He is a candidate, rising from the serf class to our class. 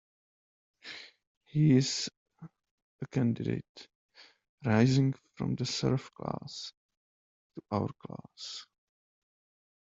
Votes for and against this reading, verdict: 2, 0, accepted